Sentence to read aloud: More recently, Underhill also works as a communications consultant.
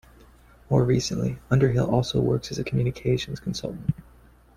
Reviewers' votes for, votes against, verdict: 0, 2, rejected